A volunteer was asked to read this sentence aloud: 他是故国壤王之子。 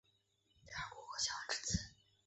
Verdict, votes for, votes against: rejected, 0, 4